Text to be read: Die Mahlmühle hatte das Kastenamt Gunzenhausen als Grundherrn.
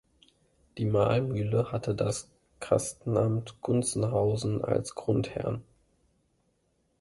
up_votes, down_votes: 2, 0